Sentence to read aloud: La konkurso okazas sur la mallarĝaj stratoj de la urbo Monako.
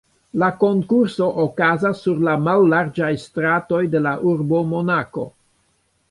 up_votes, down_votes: 1, 2